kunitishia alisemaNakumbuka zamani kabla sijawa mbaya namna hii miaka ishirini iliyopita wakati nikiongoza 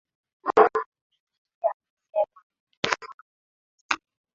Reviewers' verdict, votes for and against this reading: rejected, 0, 2